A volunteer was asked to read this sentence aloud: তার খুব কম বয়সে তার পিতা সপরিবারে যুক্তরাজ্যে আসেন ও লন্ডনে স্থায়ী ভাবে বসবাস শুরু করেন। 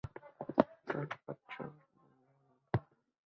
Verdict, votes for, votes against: rejected, 0, 2